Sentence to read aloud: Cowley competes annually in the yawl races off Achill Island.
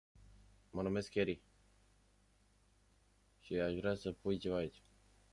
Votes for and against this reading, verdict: 0, 2, rejected